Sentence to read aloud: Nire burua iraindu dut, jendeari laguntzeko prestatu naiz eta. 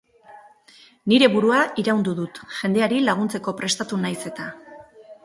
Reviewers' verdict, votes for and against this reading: rejected, 2, 2